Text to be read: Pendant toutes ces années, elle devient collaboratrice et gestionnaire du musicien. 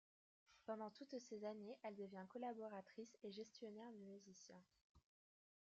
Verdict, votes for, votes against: rejected, 0, 2